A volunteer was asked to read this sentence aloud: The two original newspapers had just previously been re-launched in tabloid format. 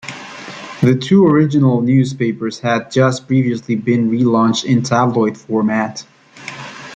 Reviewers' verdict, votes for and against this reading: accepted, 2, 0